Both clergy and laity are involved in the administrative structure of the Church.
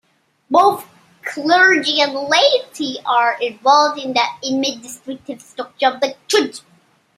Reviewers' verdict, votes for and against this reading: rejected, 0, 2